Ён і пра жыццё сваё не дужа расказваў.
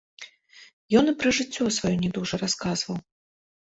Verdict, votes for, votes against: rejected, 1, 2